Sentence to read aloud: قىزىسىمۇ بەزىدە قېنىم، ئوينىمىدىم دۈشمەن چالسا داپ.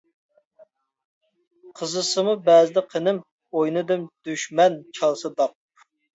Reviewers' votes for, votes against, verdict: 0, 2, rejected